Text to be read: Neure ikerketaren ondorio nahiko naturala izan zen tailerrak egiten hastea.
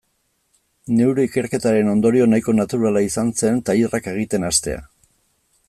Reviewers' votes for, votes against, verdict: 2, 0, accepted